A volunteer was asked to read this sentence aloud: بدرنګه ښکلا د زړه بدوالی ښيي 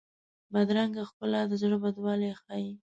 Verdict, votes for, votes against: accepted, 2, 0